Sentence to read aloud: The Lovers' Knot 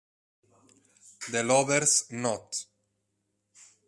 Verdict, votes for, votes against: accepted, 4, 0